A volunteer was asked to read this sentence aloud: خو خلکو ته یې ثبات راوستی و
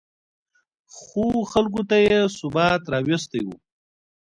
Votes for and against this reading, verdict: 2, 0, accepted